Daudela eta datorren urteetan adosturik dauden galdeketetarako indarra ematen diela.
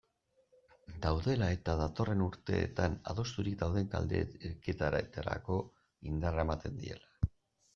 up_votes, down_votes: 0, 2